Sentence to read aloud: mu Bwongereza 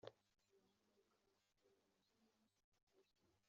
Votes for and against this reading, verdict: 1, 2, rejected